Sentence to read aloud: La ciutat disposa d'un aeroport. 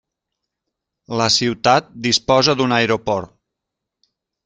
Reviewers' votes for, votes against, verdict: 3, 0, accepted